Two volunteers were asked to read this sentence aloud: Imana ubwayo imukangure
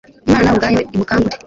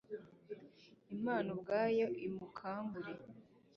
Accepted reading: second